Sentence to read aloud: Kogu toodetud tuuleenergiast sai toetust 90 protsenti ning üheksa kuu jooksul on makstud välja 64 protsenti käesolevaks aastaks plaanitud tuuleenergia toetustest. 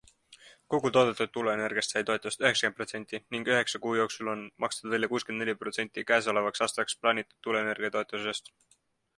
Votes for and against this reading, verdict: 0, 2, rejected